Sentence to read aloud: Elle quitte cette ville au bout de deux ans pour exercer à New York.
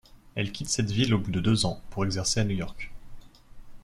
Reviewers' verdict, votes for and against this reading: accepted, 2, 0